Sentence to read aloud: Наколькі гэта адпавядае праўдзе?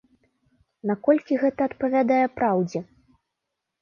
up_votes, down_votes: 2, 0